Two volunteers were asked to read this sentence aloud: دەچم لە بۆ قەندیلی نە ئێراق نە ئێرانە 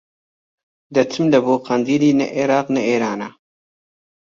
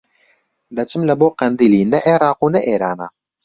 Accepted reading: first